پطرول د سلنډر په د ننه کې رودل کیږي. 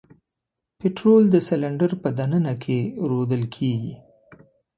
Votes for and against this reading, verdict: 2, 0, accepted